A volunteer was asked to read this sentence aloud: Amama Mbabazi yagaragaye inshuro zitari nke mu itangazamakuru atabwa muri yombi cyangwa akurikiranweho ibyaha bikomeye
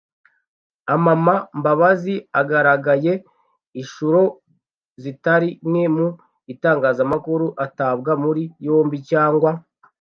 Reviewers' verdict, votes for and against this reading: rejected, 0, 2